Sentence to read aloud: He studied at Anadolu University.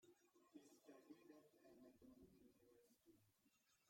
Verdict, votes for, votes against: rejected, 0, 2